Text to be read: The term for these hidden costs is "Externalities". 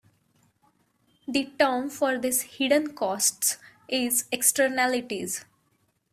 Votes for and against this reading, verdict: 1, 2, rejected